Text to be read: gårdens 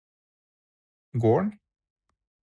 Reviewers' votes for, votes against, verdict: 2, 4, rejected